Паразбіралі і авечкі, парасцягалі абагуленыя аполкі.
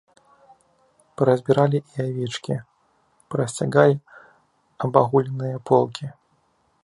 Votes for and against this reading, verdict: 1, 2, rejected